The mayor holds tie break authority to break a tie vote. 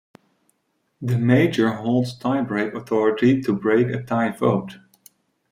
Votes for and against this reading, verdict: 1, 2, rejected